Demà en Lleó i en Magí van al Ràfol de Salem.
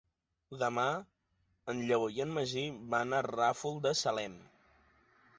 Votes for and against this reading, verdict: 0, 2, rejected